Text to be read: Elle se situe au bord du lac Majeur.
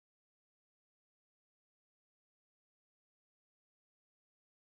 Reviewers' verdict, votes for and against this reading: rejected, 0, 2